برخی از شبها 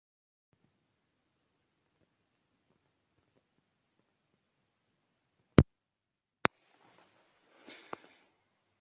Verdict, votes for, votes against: rejected, 0, 2